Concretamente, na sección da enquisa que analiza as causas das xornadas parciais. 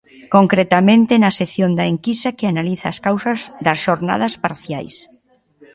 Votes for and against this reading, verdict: 2, 1, accepted